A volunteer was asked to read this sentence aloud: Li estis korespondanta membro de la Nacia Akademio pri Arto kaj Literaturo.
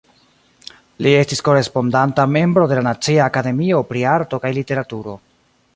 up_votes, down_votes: 2, 1